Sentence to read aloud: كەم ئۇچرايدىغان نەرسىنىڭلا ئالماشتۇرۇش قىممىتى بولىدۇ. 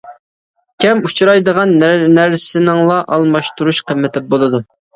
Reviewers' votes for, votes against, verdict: 0, 2, rejected